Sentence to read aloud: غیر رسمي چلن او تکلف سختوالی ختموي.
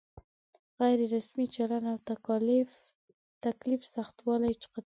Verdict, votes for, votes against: rejected, 1, 2